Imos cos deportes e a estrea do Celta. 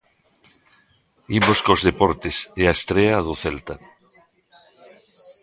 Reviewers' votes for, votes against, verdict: 1, 2, rejected